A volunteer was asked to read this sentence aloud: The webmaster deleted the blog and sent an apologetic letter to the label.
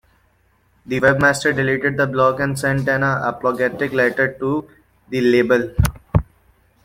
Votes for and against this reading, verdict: 1, 2, rejected